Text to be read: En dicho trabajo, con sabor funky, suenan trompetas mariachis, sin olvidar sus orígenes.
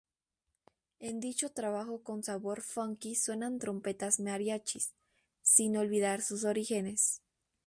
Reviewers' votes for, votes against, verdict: 2, 2, rejected